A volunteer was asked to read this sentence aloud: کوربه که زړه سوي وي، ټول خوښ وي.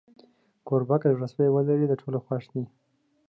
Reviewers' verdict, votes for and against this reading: rejected, 1, 2